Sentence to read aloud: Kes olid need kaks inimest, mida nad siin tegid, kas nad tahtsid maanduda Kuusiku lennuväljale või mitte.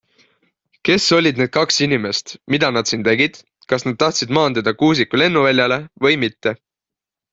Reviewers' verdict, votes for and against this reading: accepted, 2, 0